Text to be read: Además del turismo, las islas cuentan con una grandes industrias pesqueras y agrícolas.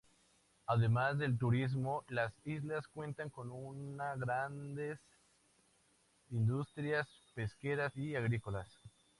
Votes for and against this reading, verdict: 4, 0, accepted